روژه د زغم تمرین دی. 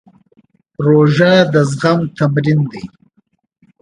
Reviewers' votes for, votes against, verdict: 2, 0, accepted